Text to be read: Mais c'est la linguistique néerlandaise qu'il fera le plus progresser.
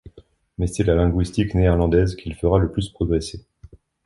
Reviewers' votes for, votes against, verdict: 3, 0, accepted